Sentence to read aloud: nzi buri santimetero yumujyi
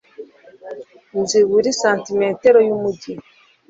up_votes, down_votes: 2, 0